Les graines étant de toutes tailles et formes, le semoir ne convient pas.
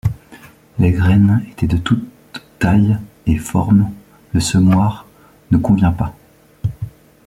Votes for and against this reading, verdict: 1, 2, rejected